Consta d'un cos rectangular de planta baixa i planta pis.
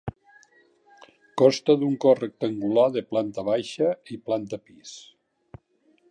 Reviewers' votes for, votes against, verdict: 1, 2, rejected